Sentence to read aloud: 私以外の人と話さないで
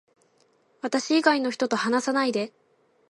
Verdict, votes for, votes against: accepted, 2, 0